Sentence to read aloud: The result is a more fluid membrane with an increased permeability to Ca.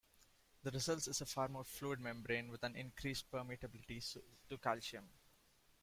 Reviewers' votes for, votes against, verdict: 0, 2, rejected